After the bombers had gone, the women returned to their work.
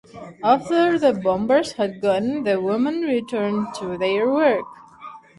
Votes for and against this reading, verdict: 2, 0, accepted